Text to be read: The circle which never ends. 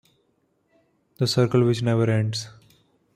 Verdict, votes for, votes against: accepted, 2, 0